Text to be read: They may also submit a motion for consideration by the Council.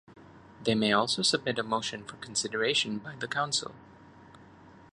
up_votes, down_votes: 2, 0